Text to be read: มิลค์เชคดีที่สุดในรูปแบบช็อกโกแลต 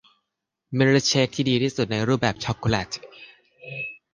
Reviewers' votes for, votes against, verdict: 1, 2, rejected